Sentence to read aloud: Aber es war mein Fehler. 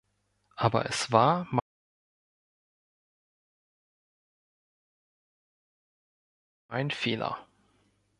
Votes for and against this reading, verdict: 1, 2, rejected